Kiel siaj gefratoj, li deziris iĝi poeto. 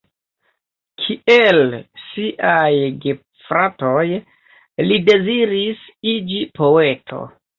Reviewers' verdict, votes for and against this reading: accepted, 3, 0